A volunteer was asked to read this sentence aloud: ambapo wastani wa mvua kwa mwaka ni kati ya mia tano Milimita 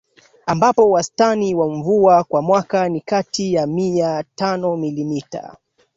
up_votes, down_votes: 1, 2